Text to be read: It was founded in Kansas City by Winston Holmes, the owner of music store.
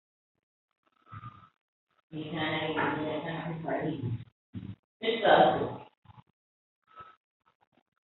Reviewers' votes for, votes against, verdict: 0, 3, rejected